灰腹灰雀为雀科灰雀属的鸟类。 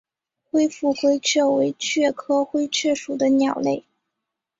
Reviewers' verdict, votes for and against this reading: accepted, 2, 0